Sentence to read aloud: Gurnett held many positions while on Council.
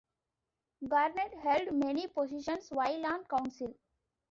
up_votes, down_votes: 2, 0